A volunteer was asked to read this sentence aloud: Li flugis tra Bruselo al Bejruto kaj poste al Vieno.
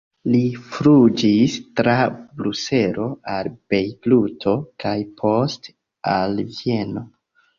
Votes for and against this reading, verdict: 2, 1, accepted